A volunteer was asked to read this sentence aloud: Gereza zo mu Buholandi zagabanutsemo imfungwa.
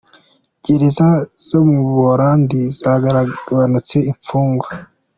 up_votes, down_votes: 2, 1